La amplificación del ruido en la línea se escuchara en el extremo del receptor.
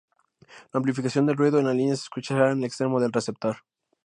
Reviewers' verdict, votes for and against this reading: accepted, 2, 0